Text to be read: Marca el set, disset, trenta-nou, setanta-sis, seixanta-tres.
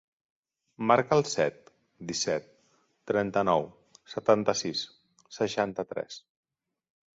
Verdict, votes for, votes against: accepted, 2, 0